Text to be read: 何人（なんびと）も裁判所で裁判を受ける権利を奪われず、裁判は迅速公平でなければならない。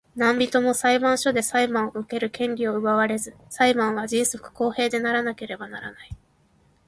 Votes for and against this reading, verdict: 0, 2, rejected